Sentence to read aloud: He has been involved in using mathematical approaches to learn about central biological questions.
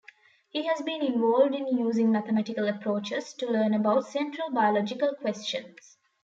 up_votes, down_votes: 2, 0